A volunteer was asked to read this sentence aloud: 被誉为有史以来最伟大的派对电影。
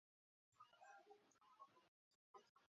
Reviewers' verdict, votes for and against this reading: rejected, 0, 2